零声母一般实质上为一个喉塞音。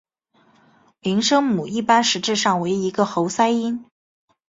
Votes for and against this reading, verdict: 3, 1, accepted